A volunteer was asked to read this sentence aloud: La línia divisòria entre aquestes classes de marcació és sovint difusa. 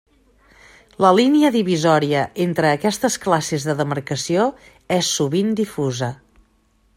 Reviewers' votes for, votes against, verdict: 1, 2, rejected